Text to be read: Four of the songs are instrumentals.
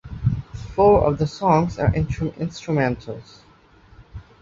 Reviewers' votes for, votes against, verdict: 0, 2, rejected